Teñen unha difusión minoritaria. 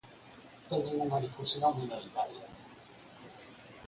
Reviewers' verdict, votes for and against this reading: rejected, 0, 4